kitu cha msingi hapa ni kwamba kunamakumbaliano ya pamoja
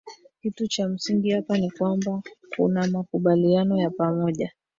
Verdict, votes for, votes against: rejected, 1, 2